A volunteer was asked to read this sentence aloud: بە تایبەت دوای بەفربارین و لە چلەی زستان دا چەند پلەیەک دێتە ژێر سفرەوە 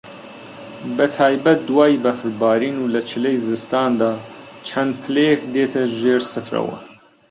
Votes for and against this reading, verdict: 0, 2, rejected